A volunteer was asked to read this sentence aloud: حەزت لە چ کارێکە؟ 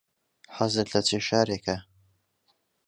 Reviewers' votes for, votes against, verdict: 0, 2, rejected